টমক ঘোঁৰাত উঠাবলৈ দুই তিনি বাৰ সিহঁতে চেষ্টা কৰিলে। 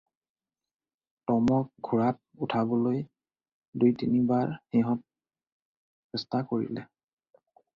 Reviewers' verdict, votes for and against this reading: rejected, 0, 2